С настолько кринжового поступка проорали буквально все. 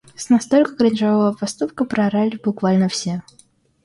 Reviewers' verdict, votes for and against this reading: accepted, 2, 0